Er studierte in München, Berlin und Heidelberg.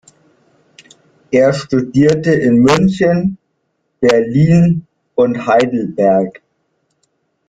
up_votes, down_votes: 2, 0